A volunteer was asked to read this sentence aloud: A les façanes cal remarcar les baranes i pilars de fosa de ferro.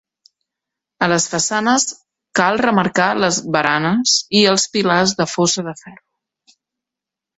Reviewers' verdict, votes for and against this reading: rejected, 0, 2